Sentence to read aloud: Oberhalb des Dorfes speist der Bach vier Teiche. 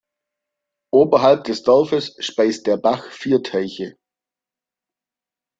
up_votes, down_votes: 2, 0